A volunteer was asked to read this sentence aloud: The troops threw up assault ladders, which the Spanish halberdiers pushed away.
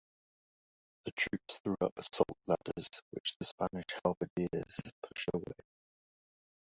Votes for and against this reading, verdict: 0, 2, rejected